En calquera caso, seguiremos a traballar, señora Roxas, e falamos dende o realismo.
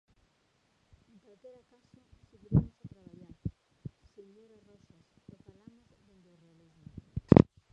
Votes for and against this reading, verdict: 0, 2, rejected